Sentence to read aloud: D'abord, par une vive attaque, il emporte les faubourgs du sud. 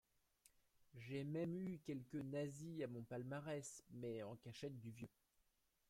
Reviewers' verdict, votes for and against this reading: rejected, 0, 2